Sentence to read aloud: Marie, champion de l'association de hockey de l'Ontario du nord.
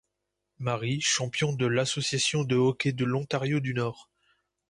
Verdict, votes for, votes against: accepted, 2, 0